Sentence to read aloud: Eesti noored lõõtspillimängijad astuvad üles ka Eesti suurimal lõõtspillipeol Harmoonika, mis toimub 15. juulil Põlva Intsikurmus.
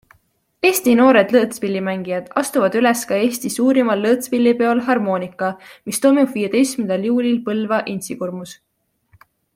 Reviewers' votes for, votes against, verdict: 0, 2, rejected